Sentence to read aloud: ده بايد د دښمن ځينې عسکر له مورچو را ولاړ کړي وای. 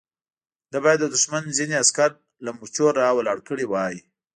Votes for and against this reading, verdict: 0, 2, rejected